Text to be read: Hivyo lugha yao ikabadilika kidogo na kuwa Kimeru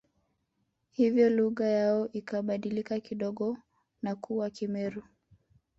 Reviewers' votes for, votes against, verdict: 2, 0, accepted